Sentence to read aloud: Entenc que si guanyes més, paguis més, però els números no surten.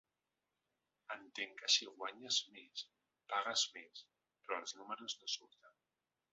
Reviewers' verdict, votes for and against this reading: rejected, 0, 2